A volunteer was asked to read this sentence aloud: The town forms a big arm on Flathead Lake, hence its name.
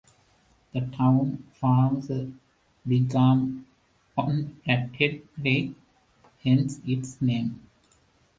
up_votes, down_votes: 1, 2